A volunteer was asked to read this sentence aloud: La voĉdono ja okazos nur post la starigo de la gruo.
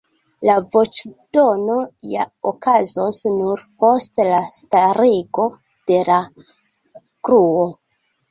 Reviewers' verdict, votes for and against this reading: accepted, 2, 0